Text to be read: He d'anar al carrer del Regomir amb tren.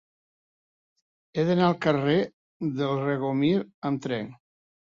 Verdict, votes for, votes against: accepted, 3, 0